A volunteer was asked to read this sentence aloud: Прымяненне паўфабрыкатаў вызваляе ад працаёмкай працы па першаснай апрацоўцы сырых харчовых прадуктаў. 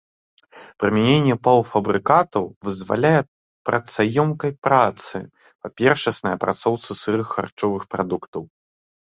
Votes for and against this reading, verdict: 0, 3, rejected